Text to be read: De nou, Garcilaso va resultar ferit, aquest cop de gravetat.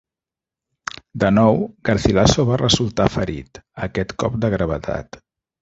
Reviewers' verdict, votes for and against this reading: accepted, 2, 0